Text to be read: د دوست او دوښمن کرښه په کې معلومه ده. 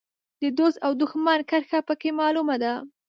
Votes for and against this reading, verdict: 2, 0, accepted